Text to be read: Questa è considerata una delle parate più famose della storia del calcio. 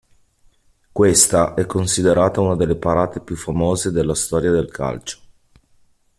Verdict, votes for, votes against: accepted, 2, 0